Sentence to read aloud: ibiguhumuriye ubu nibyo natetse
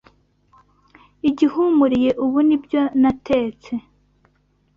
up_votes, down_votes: 0, 2